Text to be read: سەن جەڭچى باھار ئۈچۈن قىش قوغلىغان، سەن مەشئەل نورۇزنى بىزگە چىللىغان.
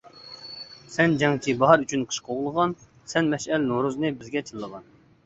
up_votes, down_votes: 2, 1